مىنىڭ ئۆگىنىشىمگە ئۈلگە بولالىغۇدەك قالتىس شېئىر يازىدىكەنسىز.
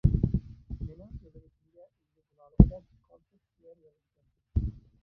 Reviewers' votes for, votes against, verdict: 0, 2, rejected